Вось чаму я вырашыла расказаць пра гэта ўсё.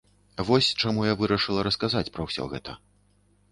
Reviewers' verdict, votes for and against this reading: rejected, 1, 2